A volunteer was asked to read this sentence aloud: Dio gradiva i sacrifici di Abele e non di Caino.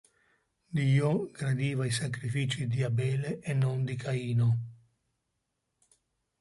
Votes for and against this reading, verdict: 3, 0, accepted